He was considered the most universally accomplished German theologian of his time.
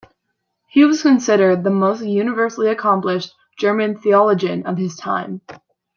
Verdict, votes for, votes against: accepted, 2, 0